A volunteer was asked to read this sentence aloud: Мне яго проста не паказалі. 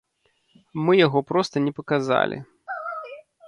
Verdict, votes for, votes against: rejected, 1, 3